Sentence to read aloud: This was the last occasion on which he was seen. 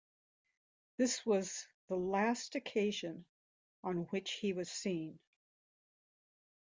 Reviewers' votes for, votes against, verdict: 2, 1, accepted